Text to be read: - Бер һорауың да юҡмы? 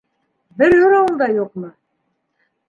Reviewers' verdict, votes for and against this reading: rejected, 1, 2